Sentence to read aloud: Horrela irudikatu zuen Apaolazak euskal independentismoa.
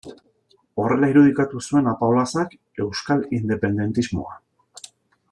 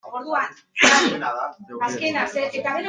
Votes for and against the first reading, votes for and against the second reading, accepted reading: 2, 0, 0, 2, first